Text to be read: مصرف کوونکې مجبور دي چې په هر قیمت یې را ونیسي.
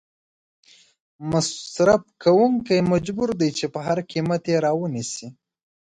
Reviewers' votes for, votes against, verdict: 2, 1, accepted